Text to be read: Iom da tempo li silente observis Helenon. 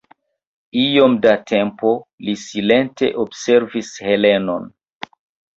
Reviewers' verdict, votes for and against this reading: rejected, 0, 2